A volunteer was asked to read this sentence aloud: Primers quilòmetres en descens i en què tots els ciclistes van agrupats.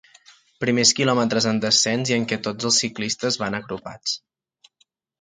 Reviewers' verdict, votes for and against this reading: accepted, 3, 0